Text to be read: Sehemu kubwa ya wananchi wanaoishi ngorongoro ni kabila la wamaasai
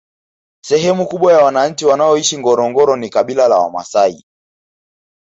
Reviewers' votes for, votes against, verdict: 2, 1, accepted